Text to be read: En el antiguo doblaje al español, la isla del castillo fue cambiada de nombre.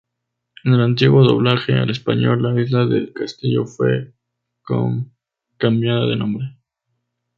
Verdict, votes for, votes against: rejected, 0, 2